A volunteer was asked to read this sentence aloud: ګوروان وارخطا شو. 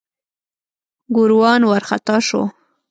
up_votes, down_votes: 2, 0